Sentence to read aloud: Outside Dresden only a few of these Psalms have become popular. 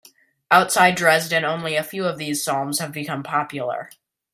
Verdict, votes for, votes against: accepted, 2, 1